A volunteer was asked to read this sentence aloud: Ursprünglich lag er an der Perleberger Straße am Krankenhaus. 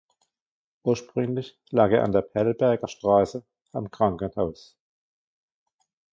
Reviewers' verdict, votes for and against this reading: rejected, 0, 2